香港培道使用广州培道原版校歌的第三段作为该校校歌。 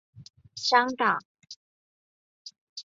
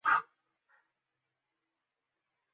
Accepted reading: first